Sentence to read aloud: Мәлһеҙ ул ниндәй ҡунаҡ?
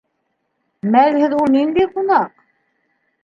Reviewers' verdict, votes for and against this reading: rejected, 2, 3